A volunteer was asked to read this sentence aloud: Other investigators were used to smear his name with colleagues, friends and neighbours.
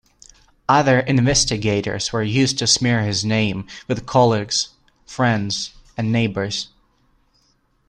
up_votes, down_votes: 2, 0